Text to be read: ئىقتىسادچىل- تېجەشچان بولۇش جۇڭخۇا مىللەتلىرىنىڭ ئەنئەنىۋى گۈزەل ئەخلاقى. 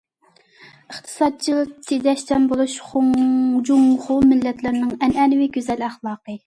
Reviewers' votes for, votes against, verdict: 0, 2, rejected